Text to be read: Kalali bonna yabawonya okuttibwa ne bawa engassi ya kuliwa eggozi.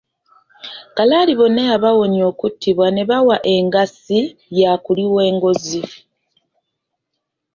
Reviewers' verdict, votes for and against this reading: rejected, 1, 2